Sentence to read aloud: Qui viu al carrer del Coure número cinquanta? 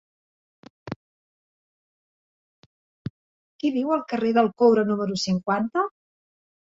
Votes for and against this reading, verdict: 1, 2, rejected